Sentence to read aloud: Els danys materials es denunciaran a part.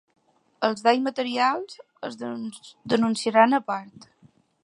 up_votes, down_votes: 0, 2